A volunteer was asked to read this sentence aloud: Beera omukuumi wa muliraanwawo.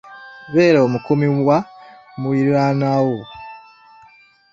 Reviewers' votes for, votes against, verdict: 1, 2, rejected